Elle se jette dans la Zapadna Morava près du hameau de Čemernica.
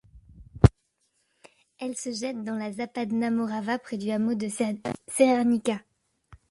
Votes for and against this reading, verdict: 0, 2, rejected